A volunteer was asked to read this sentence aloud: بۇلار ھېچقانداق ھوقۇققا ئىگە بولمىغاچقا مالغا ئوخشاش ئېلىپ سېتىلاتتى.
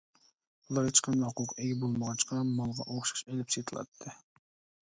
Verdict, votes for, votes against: rejected, 1, 2